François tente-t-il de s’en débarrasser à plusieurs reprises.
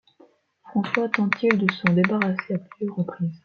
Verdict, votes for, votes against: rejected, 1, 2